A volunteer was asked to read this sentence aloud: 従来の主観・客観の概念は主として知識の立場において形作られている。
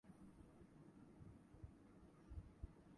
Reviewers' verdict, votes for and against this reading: rejected, 0, 2